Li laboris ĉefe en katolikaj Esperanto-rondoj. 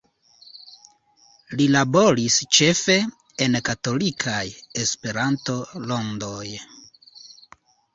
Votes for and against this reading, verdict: 2, 0, accepted